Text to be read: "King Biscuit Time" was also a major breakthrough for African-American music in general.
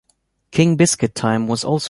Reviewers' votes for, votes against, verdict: 0, 2, rejected